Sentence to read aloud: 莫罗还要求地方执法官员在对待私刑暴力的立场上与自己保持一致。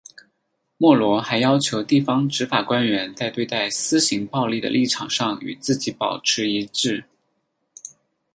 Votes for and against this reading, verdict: 2, 0, accepted